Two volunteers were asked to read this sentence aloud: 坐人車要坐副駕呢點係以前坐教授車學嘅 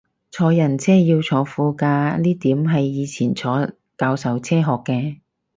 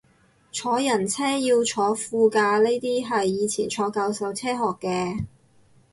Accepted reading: first